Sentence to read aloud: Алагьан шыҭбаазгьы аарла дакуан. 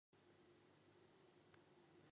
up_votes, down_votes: 0, 2